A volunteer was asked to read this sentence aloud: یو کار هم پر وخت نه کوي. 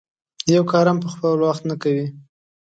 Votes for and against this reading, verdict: 2, 0, accepted